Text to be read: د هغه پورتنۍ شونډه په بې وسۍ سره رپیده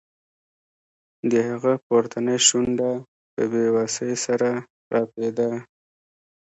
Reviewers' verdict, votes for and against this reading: rejected, 0, 2